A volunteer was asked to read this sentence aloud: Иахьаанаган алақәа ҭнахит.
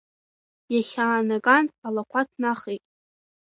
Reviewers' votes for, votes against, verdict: 0, 2, rejected